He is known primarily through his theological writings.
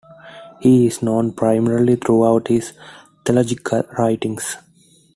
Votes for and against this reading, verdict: 1, 2, rejected